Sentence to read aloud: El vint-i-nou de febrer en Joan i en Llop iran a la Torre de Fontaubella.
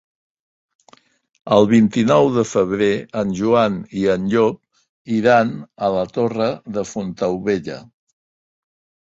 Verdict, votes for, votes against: accepted, 2, 0